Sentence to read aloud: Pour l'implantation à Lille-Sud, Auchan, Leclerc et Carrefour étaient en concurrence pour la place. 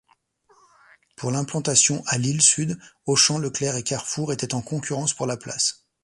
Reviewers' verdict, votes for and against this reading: accepted, 2, 0